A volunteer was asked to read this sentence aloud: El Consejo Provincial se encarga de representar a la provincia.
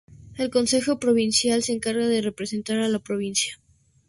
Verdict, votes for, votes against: accepted, 4, 0